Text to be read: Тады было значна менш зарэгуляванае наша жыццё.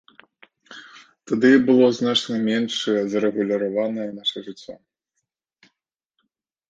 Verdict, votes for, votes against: rejected, 1, 2